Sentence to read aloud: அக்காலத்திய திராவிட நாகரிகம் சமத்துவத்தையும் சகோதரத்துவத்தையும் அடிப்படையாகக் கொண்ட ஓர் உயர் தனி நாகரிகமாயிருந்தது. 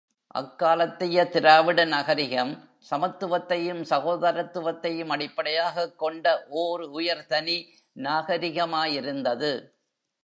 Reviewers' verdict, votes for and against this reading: rejected, 0, 2